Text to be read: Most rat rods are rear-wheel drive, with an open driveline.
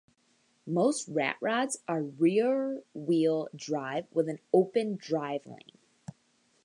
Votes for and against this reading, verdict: 0, 2, rejected